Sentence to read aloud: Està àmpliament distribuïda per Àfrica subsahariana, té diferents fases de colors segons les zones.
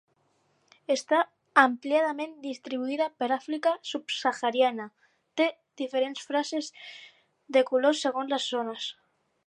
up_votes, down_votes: 0, 4